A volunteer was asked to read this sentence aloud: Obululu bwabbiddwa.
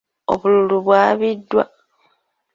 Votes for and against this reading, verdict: 1, 2, rejected